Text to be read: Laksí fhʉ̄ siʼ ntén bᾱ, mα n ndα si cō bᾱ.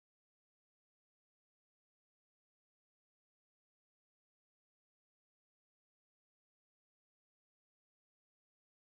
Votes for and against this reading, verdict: 0, 2, rejected